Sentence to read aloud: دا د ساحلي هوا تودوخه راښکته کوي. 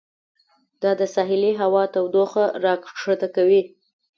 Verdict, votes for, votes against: accepted, 2, 0